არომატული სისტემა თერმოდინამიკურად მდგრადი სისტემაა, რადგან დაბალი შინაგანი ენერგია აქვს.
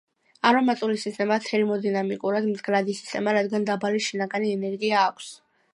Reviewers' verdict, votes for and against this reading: accepted, 2, 1